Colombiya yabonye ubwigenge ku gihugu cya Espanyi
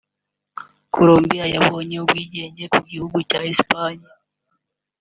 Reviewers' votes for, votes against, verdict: 0, 2, rejected